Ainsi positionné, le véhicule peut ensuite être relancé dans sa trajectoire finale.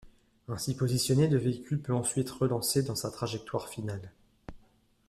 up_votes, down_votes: 1, 2